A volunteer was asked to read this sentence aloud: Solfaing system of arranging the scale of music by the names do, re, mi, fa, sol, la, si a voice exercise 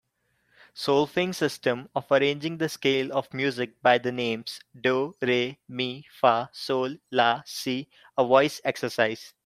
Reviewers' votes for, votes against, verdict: 2, 0, accepted